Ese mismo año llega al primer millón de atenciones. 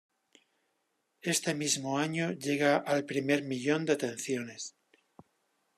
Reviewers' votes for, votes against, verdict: 1, 2, rejected